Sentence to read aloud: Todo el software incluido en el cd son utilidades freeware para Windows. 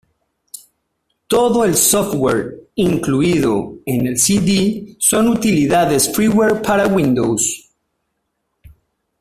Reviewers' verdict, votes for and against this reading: rejected, 1, 2